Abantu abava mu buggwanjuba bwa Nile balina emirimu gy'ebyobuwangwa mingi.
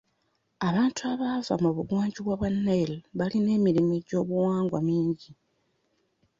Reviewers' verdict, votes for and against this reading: accepted, 2, 1